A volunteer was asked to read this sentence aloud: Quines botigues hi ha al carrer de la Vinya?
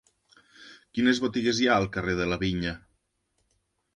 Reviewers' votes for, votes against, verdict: 2, 0, accepted